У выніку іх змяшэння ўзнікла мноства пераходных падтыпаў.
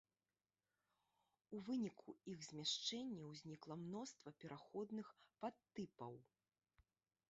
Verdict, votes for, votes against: rejected, 2, 3